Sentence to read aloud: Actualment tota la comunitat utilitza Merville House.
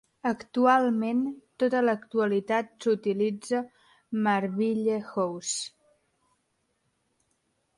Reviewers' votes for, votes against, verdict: 0, 2, rejected